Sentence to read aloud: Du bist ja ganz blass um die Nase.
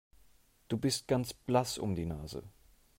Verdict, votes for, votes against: rejected, 0, 2